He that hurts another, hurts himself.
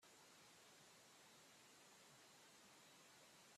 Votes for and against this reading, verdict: 0, 2, rejected